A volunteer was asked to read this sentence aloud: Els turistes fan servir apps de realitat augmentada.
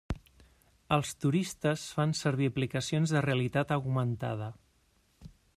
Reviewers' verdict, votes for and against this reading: rejected, 0, 2